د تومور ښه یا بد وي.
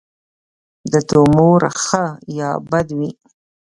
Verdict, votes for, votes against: accepted, 2, 1